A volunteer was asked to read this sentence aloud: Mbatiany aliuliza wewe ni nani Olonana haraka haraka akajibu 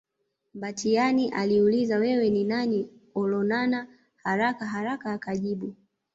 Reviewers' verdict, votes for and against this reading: accepted, 2, 0